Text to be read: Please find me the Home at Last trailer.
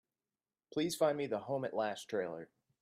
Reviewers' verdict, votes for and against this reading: accepted, 2, 0